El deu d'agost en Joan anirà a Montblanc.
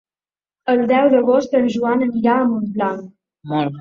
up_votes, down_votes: 2, 0